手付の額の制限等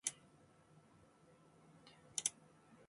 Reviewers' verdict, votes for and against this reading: rejected, 0, 2